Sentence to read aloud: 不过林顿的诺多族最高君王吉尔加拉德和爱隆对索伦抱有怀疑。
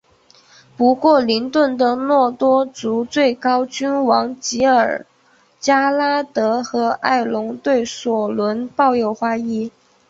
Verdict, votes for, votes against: accepted, 2, 1